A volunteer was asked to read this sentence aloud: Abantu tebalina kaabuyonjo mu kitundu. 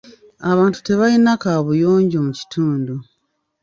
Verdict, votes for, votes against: rejected, 0, 2